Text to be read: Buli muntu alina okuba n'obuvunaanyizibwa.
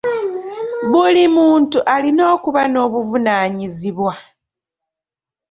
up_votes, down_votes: 0, 2